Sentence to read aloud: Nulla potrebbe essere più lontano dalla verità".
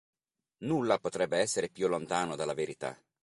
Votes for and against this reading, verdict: 4, 0, accepted